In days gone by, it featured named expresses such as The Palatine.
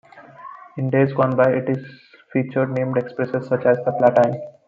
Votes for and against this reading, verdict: 1, 2, rejected